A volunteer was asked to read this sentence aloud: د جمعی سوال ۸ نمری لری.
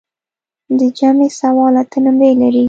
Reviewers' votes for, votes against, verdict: 0, 2, rejected